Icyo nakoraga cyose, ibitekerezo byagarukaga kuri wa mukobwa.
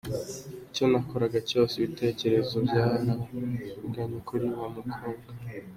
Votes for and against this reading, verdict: 2, 1, accepted